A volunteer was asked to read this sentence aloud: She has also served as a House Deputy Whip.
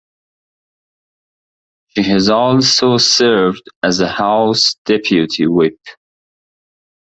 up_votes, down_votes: 0, 2